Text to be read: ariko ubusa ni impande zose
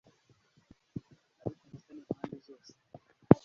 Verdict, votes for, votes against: rejected, 1, 2